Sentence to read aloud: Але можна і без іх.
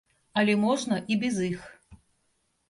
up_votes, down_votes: 1, 2